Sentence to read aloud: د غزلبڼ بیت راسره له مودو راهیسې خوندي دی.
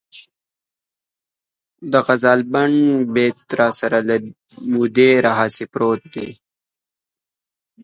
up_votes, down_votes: 0, 2